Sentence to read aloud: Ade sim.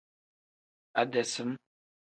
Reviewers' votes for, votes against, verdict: 2, 1, accepted